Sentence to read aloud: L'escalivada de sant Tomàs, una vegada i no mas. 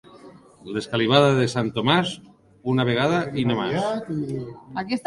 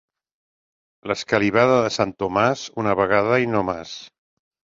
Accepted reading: second